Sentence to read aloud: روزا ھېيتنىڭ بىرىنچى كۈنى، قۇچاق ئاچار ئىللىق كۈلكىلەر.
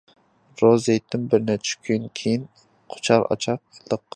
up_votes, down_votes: 0, 2